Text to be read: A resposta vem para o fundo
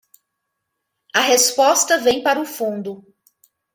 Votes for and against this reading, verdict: 2, 0, accepted